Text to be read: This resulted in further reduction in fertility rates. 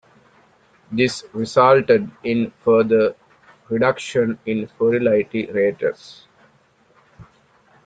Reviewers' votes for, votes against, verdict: 0, 2, rejected